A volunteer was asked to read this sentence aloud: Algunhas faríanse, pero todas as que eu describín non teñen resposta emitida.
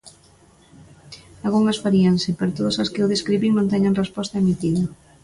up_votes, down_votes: 2, 0